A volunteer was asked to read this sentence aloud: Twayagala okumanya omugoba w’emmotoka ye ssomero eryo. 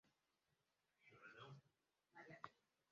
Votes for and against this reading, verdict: 0, 2, rejected